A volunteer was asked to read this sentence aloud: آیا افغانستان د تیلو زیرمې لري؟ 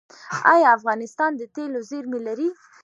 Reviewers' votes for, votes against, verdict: 0, 2, rejected